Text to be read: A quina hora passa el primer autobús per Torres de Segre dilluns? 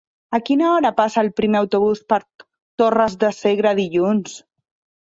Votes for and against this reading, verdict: 1, 2, rejected